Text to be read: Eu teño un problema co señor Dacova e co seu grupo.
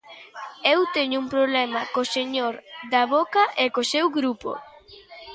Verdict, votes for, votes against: rejected, 0, 2